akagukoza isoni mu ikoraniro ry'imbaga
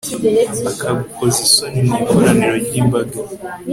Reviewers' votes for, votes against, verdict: 1, 2, rejected